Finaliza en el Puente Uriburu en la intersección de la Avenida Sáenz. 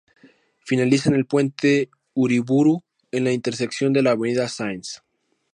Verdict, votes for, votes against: accepted, 2, 0